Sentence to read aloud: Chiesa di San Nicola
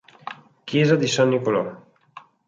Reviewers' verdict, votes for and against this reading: rejected, 0, 2